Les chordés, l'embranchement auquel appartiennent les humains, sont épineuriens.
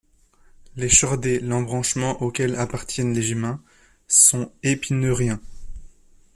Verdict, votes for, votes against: rejected, 1, 2